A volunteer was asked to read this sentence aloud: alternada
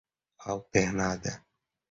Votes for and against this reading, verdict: 2, 0, accepted